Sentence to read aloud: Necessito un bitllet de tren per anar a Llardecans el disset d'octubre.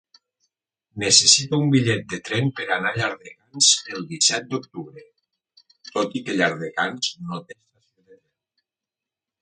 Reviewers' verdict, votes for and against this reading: rejected, 0, 2